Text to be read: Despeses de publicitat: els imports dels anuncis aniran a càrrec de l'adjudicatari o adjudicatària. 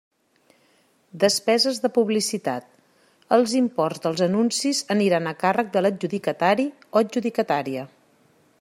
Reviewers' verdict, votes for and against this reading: accepted, 3, 0